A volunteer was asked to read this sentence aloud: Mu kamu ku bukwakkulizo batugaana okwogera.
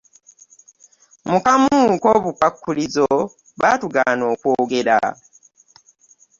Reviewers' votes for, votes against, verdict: 0, 2, rejected